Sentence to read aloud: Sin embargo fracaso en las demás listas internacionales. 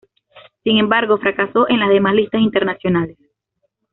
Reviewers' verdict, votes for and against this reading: accepted, 2, 1